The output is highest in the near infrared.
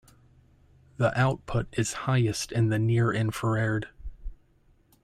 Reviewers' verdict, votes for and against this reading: rejected, 0, 2